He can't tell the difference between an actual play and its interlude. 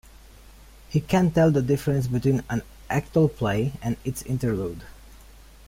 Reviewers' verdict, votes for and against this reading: rejected, 0, 2